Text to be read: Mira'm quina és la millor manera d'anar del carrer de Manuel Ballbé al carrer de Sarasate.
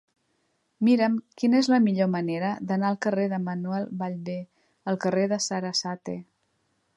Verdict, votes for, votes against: rejected, 1, 2